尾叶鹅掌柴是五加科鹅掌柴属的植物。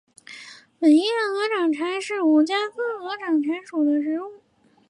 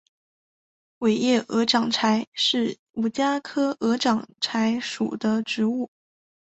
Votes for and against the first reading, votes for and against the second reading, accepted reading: 2, 3, 4, 1, second